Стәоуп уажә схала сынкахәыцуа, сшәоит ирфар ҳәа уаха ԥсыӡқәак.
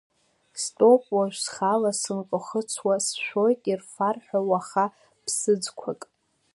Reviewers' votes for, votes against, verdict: 2, 0, accepted